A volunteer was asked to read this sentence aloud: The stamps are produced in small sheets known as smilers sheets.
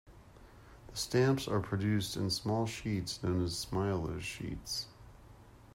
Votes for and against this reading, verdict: 1, 2, rejected